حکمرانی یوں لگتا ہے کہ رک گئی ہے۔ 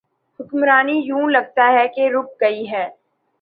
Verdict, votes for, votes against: accepted, 2, 0